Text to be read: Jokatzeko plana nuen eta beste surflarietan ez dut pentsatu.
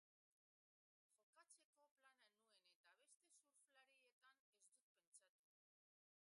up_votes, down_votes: 0, 2